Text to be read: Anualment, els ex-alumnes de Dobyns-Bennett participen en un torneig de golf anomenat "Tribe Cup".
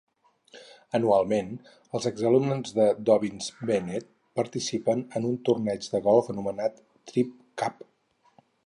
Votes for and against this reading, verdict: 4, 0, accepted